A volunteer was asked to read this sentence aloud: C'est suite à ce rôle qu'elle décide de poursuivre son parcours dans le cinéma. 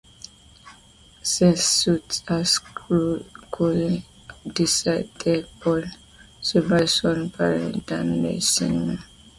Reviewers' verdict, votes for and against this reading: accepted, 2, 0